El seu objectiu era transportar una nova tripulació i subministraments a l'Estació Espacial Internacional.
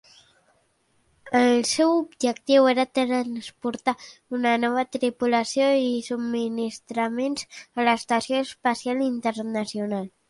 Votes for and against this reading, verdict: 2, 0, accepted